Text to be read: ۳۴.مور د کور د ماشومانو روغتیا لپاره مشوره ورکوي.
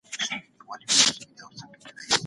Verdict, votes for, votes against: rejected, 0, 2